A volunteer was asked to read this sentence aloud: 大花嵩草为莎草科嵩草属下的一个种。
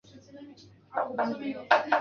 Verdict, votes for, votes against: rejected, 1, 4